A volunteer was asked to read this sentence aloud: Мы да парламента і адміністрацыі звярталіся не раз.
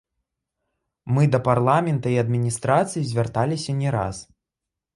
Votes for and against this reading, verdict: 0, 2, rejected